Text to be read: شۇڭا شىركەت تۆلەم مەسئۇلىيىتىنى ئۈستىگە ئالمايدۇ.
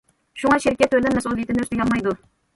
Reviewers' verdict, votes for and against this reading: rejected, 1, 2